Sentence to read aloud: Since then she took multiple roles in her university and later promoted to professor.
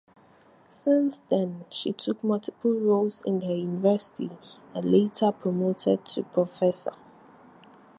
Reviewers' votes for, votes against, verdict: 4, 2, accepted